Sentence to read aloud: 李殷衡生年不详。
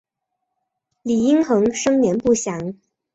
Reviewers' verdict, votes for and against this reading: accepted, 4, 0